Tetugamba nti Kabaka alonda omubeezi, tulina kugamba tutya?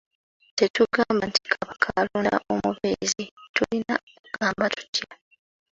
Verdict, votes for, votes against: accepted, 2, 1